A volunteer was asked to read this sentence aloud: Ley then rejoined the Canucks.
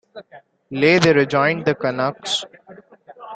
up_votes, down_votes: 0, 2